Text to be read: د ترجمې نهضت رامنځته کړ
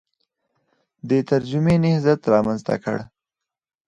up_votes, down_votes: 2, 0